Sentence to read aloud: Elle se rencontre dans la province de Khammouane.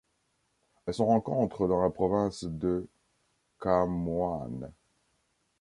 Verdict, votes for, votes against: accepted, 2, 1